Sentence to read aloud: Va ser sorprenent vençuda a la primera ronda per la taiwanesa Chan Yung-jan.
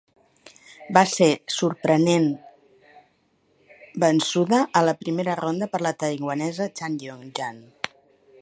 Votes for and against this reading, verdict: 2, 3, rejected